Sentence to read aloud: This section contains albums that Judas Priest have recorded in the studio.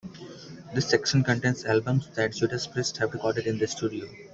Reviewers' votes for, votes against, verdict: 2, 0, accepted